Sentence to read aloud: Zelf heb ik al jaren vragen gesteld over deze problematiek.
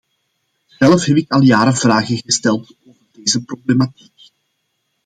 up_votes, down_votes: 2, 1